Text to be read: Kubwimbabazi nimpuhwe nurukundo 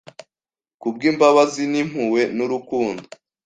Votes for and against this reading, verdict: 2, 0, accepted